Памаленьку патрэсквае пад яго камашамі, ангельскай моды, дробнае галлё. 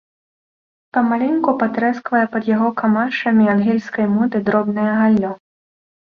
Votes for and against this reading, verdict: 2, 0, accepted